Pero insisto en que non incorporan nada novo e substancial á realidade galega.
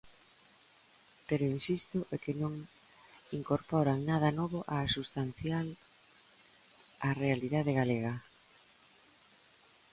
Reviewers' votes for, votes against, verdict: 0, 2, rejected